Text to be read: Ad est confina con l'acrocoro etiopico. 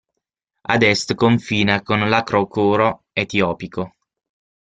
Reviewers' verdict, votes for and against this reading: accepted, 6, 0